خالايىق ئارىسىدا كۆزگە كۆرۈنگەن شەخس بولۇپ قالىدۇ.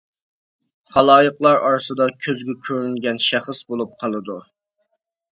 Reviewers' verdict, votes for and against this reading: rejected, 1, 2